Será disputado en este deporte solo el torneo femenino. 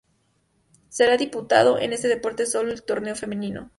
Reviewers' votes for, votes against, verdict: 0, 2, rejected